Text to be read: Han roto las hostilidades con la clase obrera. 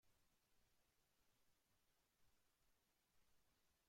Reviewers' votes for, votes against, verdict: 0, 3, rejected